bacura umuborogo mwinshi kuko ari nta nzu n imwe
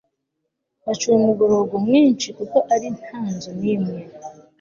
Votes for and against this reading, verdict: 2, 0, accepted